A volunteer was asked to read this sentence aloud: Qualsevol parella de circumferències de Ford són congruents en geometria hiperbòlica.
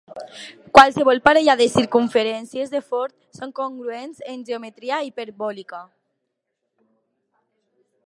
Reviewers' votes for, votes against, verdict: 2, 0, accepted